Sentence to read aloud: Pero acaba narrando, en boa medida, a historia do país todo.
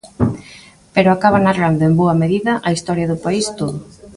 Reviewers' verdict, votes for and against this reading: rejected, 1, 2